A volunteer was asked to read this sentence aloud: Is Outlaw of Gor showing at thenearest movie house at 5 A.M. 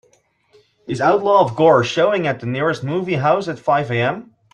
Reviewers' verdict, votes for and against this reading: rejected, 0, 2